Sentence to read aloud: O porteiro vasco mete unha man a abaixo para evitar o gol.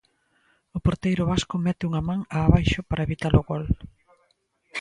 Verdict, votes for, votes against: rejected, 0, 2